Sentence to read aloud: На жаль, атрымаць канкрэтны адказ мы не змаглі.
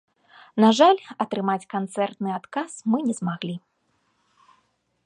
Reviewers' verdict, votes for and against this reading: rejected, 1, 2